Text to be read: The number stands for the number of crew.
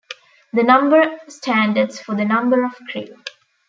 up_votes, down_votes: 1, 2